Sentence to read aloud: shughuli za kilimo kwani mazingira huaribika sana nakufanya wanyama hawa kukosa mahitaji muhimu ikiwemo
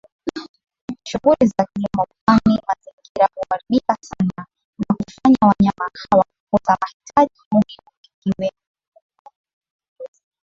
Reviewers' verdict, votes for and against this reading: rejected, 1, 2